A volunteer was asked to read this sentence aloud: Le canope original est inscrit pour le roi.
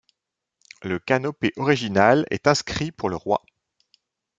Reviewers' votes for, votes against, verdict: 1, 2, rejected